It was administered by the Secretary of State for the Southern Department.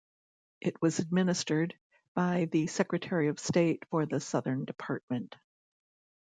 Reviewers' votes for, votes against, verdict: 2, 0, accepted